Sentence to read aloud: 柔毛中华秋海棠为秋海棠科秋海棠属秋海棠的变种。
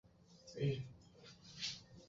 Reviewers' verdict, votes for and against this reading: rejected, 0, 2